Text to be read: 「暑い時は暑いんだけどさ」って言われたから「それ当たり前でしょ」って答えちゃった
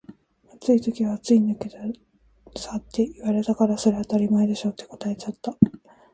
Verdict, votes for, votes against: rejected, 1, 2